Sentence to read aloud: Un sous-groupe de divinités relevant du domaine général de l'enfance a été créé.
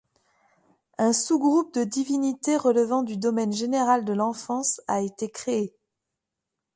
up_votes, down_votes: 2, 0